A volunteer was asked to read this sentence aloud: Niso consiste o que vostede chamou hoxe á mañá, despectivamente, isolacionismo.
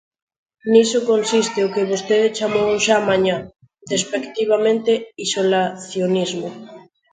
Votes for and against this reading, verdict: 1, 2, rejected